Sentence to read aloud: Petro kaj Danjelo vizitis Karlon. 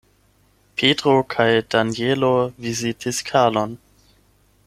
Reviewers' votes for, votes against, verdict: 8, 0, accepted